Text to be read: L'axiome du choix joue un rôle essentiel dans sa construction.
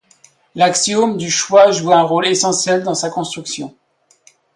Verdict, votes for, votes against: accepted, 2, 0